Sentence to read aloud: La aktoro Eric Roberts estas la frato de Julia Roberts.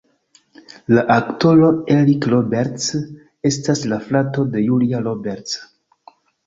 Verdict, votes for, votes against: rejected, 1, 2